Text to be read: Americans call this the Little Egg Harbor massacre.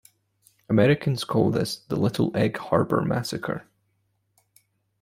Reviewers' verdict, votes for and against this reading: accepted, 2, 0